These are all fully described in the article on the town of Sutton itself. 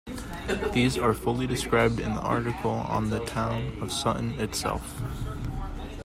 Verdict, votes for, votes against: rejected, 0, 2